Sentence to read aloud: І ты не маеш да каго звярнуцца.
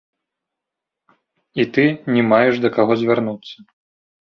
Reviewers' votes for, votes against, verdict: 1, 2, rejected